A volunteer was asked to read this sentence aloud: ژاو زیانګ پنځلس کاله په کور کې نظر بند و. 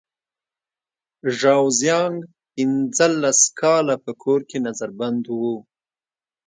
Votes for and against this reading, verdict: 3, 0, accepted